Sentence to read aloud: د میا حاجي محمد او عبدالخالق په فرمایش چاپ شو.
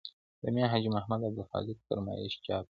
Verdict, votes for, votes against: accepted, 2, 0